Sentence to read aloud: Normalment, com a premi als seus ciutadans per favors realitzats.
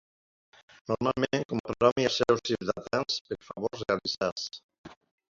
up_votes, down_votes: 0, 2